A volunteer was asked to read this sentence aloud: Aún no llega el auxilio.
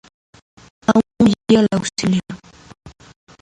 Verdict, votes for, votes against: rejected, 0, 2